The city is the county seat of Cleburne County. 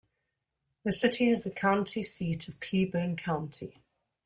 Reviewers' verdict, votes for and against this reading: accepted, 2, 0